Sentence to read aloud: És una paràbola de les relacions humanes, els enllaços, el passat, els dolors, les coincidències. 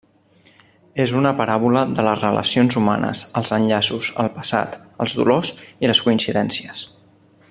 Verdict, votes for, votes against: rejected, 1, 2